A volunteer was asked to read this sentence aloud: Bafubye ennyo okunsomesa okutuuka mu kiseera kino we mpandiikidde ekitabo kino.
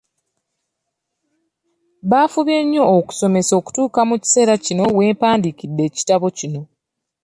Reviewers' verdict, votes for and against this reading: accepted, 2, 0